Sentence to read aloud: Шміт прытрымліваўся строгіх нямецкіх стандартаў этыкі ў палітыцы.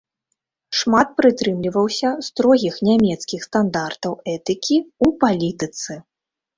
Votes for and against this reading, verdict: 2, 3, rejected